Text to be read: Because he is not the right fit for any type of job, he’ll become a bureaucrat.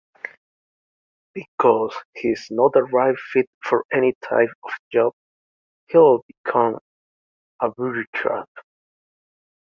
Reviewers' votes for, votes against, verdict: 2, 1, accepted